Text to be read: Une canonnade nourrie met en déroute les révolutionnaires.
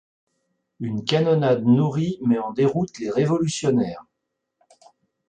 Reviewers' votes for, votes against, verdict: 2, 0, accepted